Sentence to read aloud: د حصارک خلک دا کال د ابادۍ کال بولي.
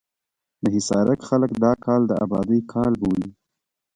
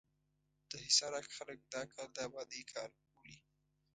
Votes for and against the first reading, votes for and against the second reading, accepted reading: 2, 0, 0, 2, first